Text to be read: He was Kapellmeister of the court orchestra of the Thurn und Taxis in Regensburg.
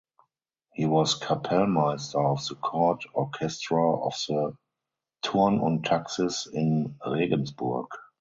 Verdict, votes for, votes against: rejected, 0, 2